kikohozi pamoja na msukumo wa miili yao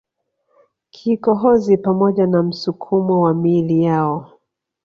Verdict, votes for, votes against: rejected, 1, 2